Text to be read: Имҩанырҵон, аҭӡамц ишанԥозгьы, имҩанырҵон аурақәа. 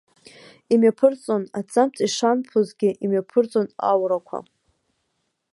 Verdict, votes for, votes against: rejected, 0, 2